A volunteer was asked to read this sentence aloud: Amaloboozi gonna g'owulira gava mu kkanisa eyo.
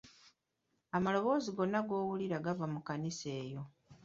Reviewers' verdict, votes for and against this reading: accepted, 2, 1